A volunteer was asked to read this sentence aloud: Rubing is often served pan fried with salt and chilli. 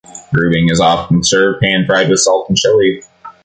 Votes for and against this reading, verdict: 2, 1, accepted